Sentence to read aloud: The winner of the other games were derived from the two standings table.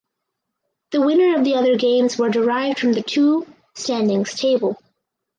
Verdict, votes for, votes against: accepted, 4, 0